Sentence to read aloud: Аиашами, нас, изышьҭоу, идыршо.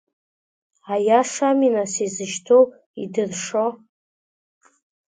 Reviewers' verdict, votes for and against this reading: accepted, 2, 0